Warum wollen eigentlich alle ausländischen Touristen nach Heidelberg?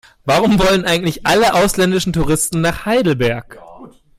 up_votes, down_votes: 2, 0